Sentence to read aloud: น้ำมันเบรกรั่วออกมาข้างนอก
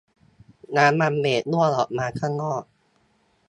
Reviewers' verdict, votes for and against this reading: rejected, 1, 2